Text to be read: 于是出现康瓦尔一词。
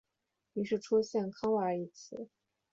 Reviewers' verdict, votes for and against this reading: accepted, 2, 0